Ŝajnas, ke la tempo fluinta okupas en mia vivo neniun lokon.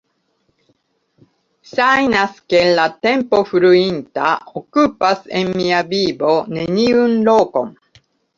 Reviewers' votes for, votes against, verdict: 0, 2, rejected